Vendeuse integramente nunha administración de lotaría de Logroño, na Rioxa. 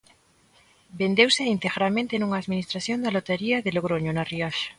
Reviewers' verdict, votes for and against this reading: accepted, 2, 0